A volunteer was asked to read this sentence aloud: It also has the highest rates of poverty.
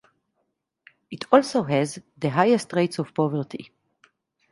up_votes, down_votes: 2, 2